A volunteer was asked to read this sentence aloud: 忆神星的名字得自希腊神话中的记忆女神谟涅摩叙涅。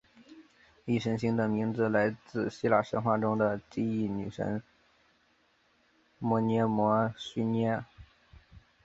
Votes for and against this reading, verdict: 2, 0, accepted